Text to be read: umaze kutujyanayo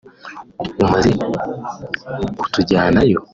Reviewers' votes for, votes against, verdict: 1, 2, rejected